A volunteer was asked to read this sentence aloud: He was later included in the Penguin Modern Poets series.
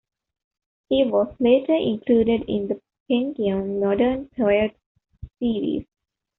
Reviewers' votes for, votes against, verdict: 0, 2, rejected